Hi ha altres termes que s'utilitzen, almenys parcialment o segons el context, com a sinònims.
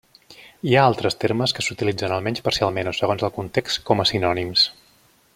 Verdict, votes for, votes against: accepted, 3, 0